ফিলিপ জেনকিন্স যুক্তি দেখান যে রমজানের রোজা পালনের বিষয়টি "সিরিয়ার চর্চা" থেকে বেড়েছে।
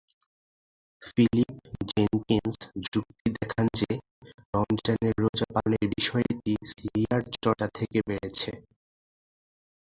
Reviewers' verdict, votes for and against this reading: rejected, 1, 2